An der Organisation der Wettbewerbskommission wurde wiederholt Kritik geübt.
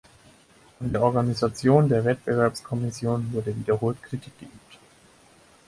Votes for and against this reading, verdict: 2, 4, rejected